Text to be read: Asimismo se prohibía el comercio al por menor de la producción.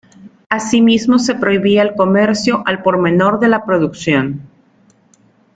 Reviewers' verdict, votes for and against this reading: accepted, 2, 0